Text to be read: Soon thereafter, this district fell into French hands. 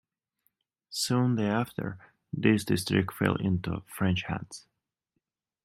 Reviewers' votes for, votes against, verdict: 2, 0, accepted